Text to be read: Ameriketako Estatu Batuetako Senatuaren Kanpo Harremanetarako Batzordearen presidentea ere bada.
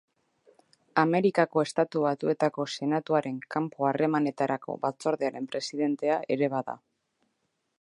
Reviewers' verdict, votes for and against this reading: rejected, 0, 2